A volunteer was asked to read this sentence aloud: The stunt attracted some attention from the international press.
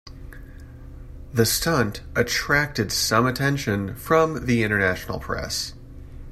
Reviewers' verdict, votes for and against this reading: accepted, 2, 0